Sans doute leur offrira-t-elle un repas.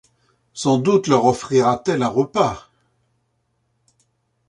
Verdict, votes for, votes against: accepted, 2, 0